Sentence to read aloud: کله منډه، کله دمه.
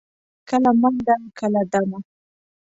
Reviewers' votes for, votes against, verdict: 2, 0, accepted